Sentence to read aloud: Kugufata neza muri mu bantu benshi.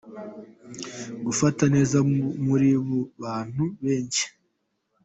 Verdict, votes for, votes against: accepted, 2, 0